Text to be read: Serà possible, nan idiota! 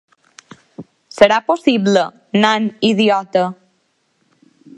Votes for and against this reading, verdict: 2, 0, accepted